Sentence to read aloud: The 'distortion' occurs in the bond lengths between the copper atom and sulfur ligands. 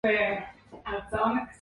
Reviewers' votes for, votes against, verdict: 1, 2, rejected